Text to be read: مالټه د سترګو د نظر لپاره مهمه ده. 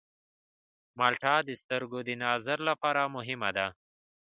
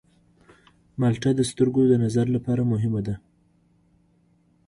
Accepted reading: second